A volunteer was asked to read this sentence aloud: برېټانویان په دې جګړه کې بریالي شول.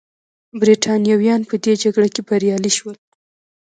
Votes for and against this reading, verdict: 2, 0, accepted